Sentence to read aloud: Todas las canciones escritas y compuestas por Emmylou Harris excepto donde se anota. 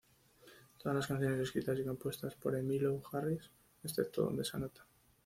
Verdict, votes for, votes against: rejected, 1, 2